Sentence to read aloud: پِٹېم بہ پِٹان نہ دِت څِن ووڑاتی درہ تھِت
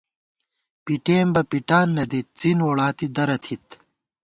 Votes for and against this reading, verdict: 2, 0, accepted